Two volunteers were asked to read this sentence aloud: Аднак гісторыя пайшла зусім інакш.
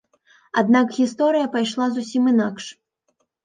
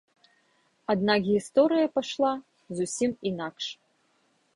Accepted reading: first